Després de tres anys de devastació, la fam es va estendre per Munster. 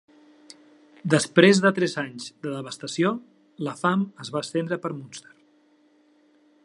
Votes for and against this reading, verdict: 3, 0, accepted